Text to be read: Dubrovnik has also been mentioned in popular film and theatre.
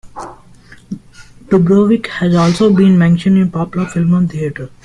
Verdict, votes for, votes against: accepted, 2, 0